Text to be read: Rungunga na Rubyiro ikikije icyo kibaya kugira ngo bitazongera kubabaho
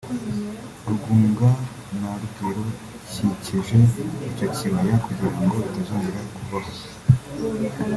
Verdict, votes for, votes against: rejected, 0, 2